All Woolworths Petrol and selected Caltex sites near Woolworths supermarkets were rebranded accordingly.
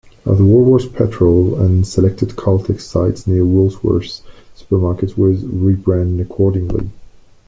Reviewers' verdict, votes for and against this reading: rejected, 0, 2